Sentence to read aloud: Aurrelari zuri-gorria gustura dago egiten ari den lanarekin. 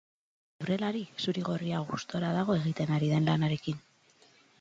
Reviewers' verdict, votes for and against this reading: rejected, 0, 4